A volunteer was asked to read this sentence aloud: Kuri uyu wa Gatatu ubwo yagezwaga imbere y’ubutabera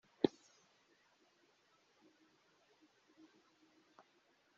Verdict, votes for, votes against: rejected, 0, 2